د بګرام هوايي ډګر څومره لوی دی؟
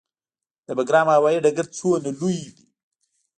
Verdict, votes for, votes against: rejected, 0, 2